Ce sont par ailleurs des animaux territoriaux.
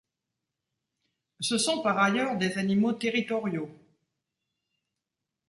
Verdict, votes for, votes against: accepted, 2, 0